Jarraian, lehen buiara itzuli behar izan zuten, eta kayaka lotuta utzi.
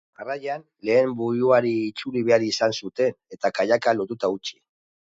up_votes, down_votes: 1, 2